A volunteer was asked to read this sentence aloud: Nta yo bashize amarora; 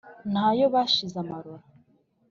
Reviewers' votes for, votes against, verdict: 2, 0, accepted